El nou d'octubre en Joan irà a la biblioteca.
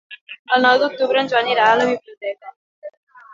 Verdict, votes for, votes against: rejected, 1, 2